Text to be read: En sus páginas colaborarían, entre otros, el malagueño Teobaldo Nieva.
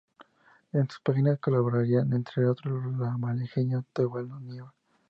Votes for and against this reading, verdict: 0, 4, rejected